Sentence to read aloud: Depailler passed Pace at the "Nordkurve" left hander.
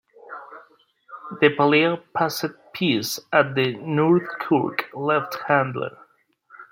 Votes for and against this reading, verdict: 1, 2, rejected